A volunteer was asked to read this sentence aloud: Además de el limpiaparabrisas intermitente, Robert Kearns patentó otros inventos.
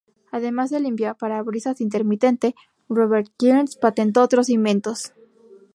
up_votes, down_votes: 0, 2